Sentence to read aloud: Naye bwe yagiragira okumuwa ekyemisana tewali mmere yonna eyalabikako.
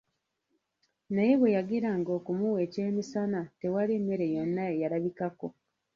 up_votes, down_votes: 0, 2